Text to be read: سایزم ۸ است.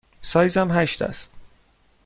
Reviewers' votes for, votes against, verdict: 0, 2, rejected